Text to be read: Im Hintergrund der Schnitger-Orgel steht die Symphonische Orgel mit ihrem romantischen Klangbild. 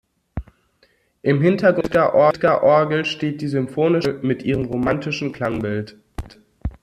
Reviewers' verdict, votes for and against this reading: rejected, 0, 2